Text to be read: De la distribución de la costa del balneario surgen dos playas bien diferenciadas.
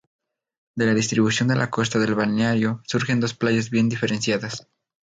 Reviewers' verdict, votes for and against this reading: accepted, 2, 0